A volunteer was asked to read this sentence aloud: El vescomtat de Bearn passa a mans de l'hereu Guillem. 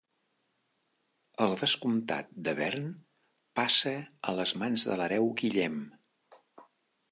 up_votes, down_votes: 0, 2